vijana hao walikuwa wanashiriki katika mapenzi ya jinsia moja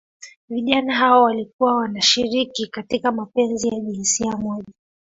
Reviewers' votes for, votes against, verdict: 0, 2, rejected